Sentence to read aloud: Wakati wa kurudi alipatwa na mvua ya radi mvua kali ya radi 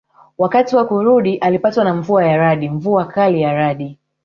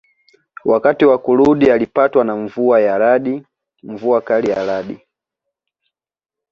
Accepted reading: second